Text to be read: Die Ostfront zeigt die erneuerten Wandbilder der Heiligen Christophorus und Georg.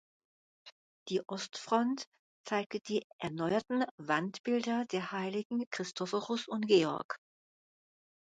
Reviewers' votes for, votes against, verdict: 0, 2, rejected